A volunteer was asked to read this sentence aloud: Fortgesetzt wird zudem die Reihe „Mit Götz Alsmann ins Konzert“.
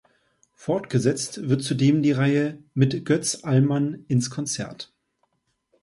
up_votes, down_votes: 0, 2